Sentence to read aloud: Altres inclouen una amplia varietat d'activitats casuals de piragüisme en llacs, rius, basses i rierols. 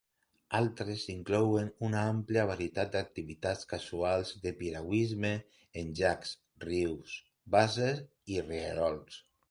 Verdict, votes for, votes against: rejected, 1, 2